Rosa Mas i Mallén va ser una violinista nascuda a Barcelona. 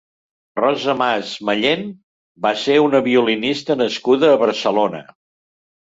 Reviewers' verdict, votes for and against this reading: rejected, 0, 2